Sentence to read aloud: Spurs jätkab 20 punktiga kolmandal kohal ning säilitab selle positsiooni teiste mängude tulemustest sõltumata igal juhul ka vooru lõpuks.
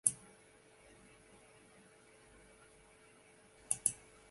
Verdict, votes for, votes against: rejected, 0, 2